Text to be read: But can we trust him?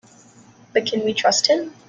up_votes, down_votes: 2, 0